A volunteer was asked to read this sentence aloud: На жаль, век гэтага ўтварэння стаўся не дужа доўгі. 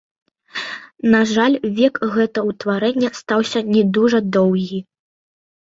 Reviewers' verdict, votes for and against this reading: rejected, 1, 2